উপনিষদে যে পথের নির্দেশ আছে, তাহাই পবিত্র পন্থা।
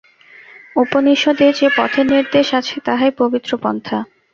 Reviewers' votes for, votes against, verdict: 0, 2, rejected